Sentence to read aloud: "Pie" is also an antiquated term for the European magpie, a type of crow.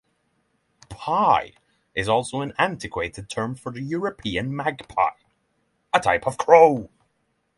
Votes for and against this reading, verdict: 6, 0, accepted